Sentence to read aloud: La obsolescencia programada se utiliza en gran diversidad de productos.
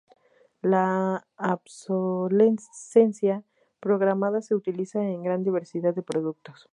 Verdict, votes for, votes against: rejected, 2, 4